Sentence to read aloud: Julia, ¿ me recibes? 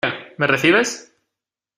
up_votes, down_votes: 0, 2